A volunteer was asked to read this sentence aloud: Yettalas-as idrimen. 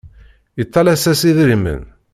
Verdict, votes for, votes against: rejected, 0, 2